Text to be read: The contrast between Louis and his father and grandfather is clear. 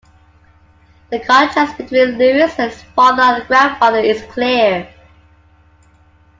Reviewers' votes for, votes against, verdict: 2, 0, accepted